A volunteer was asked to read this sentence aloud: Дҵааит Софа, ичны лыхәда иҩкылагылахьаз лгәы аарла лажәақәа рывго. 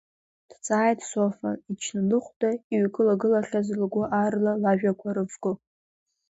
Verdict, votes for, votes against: accepted, 2, 0